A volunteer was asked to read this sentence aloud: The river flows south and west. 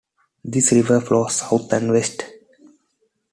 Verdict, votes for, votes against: accepted, 2, 1